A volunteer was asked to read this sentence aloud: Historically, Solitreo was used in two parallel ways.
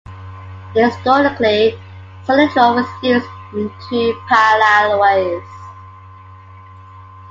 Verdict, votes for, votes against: accepted, 2, 1